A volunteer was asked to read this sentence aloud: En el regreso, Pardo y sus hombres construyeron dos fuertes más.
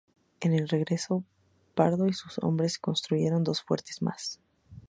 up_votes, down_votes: 2, 0